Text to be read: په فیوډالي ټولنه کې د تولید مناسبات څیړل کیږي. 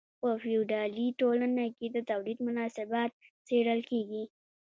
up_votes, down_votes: 2, 0